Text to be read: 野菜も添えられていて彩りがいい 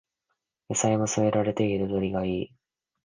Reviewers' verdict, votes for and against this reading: accepted, 2, 0